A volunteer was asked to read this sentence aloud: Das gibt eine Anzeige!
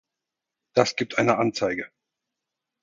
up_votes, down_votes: 4, 0